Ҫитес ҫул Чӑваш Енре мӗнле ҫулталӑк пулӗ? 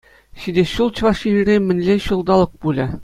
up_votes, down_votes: 2, 0